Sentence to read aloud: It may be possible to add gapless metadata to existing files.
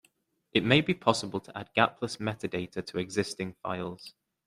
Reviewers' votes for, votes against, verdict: 2, 0, accepted